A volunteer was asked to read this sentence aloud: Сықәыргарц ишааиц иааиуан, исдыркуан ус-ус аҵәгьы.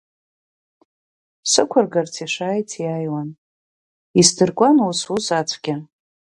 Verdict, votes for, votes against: rejected, 2, 4